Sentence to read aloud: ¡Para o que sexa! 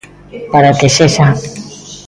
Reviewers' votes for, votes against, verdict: 0, 2, rejected